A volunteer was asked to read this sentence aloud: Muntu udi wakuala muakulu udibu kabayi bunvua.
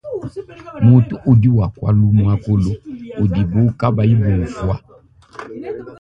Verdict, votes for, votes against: rejected, 2, 3